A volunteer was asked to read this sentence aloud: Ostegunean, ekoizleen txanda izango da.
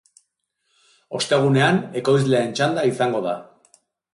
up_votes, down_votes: 2, 0